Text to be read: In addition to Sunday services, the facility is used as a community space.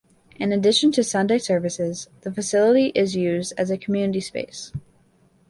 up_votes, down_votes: 2, 0